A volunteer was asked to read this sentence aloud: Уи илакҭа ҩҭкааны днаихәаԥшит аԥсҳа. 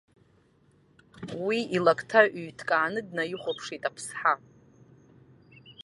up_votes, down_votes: 2, 1